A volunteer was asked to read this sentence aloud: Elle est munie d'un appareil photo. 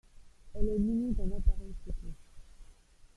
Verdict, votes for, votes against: rejected, 1, 2